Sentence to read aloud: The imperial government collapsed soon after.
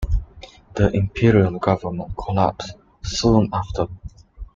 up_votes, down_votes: 2, 0